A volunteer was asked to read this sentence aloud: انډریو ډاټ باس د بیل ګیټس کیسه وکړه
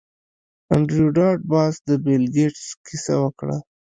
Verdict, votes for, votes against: rejected, 1, 2